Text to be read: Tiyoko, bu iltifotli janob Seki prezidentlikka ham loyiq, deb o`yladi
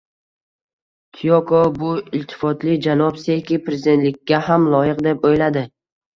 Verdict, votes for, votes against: rejected, 1, 2